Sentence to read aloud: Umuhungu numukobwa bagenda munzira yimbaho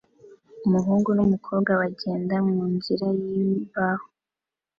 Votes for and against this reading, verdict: 2, 0, accepted